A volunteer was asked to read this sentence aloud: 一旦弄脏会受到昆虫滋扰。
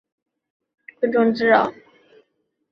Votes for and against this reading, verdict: 0, 2, rejected